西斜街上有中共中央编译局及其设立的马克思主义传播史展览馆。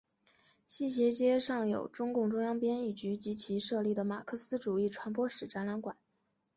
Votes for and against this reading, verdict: 2, 1, accepted